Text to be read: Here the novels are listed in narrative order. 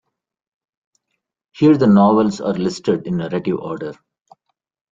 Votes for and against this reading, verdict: 2, 0, accepted